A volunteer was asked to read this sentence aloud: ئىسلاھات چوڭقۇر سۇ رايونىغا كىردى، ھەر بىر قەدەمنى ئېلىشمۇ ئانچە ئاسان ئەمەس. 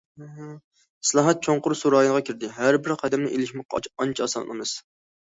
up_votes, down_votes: 1, 2